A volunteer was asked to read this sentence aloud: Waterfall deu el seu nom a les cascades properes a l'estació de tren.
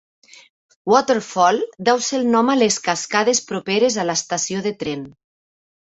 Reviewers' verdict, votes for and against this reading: rejected, 1, 2